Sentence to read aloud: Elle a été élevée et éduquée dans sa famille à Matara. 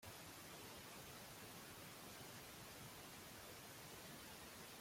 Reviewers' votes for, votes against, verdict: 0, 2, rejected